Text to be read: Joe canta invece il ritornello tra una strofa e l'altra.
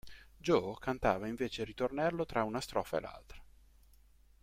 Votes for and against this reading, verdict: 1, 2, rejected